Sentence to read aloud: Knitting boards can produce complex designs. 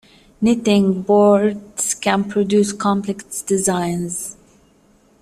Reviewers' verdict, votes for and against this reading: accepted, 2, 0